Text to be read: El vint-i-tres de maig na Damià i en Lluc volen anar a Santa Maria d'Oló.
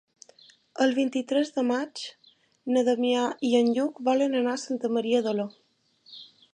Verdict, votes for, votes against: accepted, 2, 0